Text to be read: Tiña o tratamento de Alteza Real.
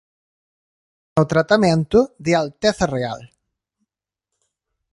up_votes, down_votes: 1, 3